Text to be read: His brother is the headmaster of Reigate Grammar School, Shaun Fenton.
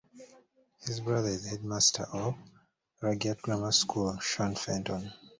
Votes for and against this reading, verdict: 0, 2, rejected